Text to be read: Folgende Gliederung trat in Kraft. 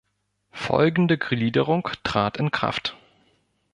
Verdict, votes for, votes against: rejected, 0, 2